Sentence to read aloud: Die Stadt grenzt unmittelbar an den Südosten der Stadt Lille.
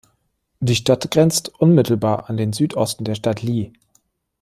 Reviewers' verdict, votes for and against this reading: accepted, 2, 0